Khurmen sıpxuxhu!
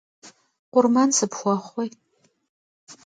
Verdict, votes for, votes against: rejected, 1, 2